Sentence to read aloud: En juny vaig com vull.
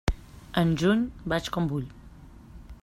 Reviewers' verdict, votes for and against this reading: accepted, 3, 0